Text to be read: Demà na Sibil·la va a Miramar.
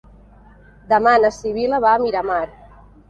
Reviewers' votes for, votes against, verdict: 3, 0, accepted